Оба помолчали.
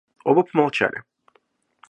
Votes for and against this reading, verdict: 2, 0, accepted